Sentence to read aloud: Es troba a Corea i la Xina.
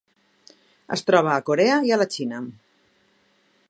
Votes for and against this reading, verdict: 1, 2, rejected